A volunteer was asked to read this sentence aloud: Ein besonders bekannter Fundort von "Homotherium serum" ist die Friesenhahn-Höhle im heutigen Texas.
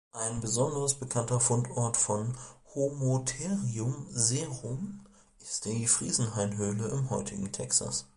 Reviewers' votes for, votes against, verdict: 0, 2, rejected